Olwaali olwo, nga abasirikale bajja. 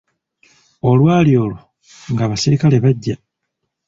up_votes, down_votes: 2, 0